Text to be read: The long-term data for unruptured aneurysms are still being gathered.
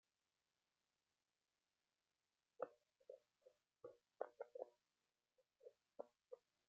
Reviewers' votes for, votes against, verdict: 0, 2, rejected